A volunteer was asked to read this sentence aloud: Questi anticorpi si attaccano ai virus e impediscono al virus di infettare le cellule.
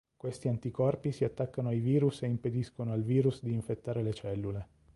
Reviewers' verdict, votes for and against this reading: accepted, 2, 0